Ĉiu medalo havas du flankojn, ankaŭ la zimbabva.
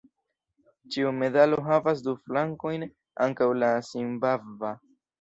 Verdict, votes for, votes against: accepted, 2, 0